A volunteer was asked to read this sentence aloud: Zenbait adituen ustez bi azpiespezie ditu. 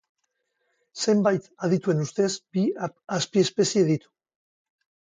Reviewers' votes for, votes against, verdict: 0, 2, rejected